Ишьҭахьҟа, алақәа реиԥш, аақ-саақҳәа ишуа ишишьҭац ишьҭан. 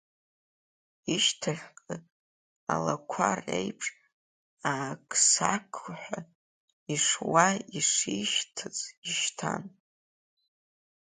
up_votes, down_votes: 1, 2